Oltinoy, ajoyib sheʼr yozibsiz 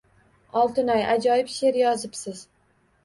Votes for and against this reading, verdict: 2, 0, accepted